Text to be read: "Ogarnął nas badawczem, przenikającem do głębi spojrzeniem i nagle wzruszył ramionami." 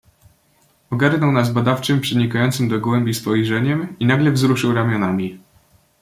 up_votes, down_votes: 1, 2